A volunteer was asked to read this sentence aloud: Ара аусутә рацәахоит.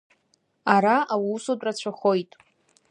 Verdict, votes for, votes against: accepted, 2, 0